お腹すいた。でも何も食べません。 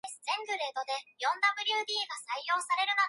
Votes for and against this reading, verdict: 1, 2, rejected